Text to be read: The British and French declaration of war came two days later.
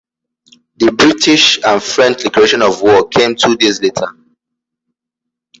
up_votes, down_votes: 0, 2